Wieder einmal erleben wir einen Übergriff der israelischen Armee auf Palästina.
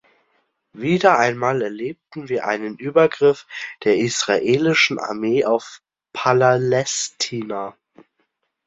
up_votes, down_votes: 0, 2